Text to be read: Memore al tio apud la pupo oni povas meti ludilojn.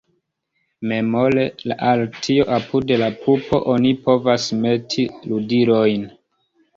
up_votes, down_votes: 2, 0